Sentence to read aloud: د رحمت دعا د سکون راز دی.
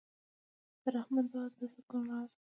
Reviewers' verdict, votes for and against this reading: rejected, 1, 2